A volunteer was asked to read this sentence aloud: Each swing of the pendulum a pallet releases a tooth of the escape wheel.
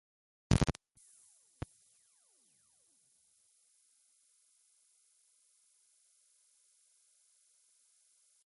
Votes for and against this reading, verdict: 0, 2, rejected